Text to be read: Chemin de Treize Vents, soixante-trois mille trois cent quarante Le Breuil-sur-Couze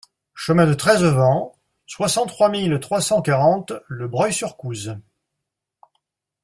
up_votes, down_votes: 2, 0